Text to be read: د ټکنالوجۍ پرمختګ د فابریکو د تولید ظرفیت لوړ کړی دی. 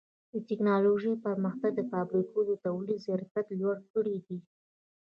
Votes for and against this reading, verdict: 1, 3, rejected